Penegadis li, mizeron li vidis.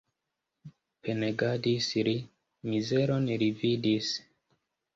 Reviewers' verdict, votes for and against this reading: rejected, 1, 3